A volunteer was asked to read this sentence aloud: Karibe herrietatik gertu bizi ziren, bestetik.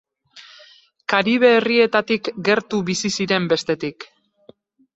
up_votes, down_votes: 4, 0